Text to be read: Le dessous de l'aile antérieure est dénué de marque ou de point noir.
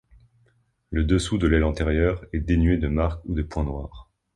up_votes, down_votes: 2, 1